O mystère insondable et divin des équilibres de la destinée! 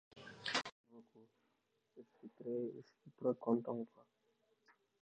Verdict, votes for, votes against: rejected, 0, 2